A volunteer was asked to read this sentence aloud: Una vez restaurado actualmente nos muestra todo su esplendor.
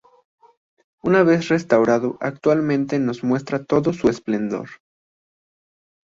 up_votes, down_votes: 2, 0